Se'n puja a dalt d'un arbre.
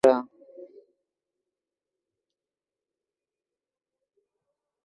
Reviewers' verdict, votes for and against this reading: rejected, 0, 2